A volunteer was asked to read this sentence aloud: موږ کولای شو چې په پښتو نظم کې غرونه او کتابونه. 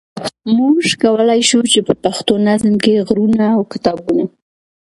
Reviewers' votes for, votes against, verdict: 2, 0, accepted